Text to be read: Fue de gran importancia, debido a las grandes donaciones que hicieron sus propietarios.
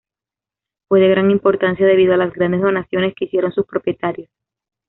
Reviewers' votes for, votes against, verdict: 2, 0, accepted